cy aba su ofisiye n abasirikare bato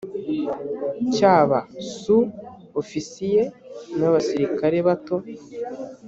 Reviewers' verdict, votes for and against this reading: accepted, 2, 0